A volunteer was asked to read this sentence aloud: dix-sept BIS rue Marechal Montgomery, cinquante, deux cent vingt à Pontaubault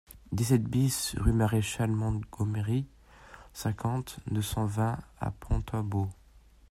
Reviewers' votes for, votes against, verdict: 1, 2, rejected